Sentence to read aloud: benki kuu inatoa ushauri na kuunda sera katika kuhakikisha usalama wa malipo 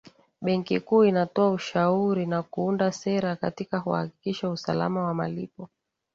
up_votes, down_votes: 2, 0